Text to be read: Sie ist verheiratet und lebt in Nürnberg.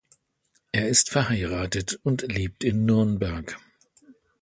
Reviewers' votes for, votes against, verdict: 0, 2, rejected